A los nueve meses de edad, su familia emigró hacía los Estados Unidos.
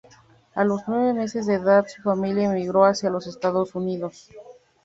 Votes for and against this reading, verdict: 2, 0, accepted